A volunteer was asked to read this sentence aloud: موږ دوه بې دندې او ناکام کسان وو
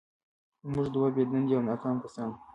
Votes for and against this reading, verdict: 2, 1, accepted